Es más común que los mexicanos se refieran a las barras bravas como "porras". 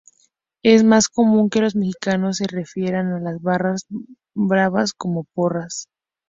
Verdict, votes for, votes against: rejected, 0, 2